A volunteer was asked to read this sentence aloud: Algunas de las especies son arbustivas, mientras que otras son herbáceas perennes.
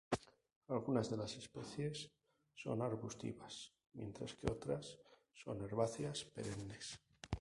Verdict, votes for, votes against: rejected, 2, 2